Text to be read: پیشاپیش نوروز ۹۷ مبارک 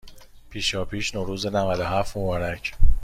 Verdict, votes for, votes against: rejected, 0, 2